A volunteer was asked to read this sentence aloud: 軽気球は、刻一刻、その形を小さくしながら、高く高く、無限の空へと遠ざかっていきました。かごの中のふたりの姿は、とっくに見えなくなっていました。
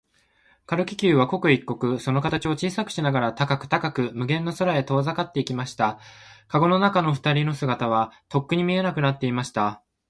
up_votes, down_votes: 2, 0